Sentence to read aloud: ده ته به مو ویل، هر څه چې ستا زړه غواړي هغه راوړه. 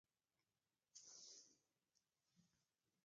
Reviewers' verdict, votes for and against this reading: rejected, 0, 2